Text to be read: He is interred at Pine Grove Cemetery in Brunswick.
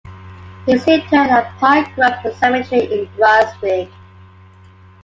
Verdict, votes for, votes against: rejected, 0, 2